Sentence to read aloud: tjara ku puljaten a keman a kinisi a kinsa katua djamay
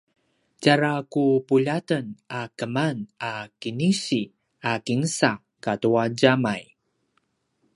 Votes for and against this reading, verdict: 2, 0, accepted